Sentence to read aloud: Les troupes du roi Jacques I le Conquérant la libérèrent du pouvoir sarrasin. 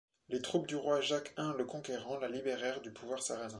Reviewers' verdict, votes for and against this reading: accepted, 2, 0